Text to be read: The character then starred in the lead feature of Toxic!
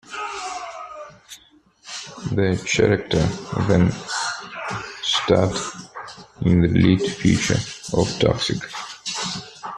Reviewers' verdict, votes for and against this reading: rejected, 1, 2